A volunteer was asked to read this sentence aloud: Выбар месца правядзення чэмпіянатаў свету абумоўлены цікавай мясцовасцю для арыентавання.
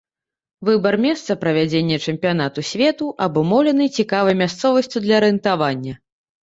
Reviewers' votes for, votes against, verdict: 1, 2, rejected